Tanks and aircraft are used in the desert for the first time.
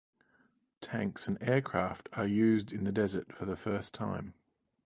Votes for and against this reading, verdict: 4, 0, accepted